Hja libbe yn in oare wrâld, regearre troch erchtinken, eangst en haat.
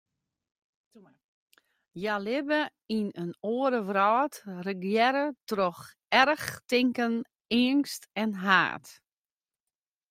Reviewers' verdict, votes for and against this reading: rejected, 0, 2